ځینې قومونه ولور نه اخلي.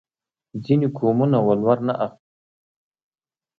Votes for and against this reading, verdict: 2, 0, accepted